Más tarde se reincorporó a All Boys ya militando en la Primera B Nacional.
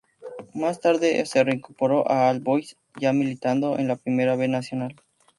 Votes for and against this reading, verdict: 2, 0, accepted